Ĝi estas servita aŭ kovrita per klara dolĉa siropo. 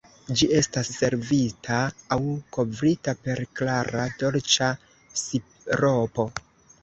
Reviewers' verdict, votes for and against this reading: rejected, 0, 2